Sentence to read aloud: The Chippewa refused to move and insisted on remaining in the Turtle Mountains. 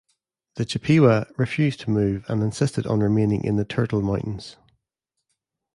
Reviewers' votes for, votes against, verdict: 1, 2, rejected